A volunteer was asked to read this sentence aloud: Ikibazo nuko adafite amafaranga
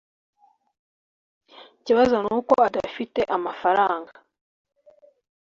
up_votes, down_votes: 2, 0